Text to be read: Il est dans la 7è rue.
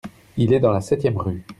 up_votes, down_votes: 0, 2